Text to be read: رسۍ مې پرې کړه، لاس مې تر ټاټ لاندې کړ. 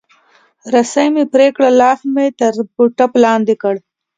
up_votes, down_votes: 2, 1